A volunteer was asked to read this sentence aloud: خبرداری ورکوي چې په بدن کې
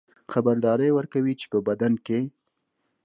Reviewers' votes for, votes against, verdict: 2, 0, accepted